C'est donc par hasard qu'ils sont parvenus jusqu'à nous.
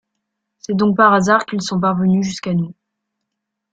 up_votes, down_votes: 2, 0